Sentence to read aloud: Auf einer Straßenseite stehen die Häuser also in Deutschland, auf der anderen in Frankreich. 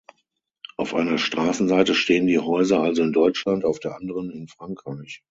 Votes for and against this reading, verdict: 6, 0, accepted